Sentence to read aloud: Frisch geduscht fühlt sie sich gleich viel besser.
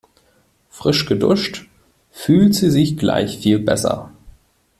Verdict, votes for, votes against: rejected, 1, 2